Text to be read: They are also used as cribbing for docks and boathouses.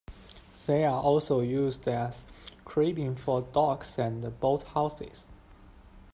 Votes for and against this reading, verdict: 2, 0, accepted